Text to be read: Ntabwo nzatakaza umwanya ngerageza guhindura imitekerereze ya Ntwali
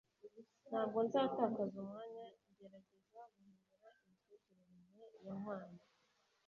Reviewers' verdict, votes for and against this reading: rejected, 0, 2